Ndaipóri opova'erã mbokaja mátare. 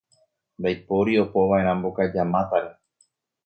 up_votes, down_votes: 2, 0